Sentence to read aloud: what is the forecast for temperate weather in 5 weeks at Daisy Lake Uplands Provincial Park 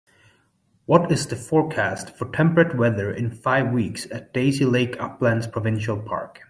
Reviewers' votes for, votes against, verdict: 0, 2, rejected